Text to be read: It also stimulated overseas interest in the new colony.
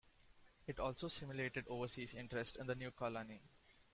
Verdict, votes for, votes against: accepted, 2, 1